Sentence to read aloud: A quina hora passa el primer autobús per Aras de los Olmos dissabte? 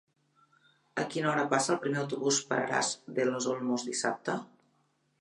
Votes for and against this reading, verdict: 3, 0, accepted